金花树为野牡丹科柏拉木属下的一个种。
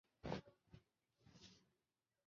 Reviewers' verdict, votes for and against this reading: rejected, 0, 4